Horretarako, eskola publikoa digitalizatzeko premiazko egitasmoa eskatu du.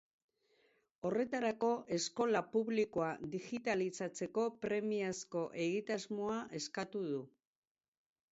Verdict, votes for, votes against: accepted, 4, 0